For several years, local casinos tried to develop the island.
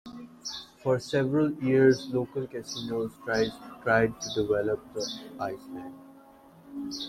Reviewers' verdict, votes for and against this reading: rejected, 1, 2